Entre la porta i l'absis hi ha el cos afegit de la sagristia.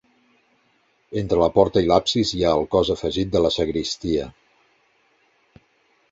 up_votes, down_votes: 2, 0